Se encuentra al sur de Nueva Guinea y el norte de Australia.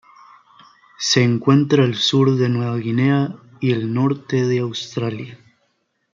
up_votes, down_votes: 1, 2